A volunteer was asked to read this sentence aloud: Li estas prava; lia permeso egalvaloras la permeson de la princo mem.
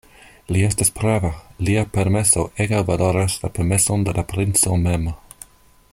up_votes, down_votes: 2, 0